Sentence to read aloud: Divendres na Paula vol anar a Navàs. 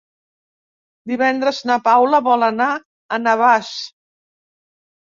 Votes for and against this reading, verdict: 3, 0, accepted